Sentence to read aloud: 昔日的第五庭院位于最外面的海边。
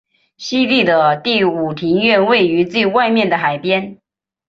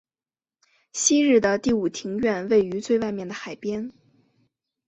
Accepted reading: second